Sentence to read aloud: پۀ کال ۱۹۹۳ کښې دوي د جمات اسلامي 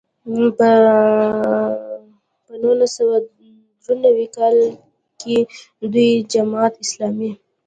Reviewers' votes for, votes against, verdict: 0, 2, rejected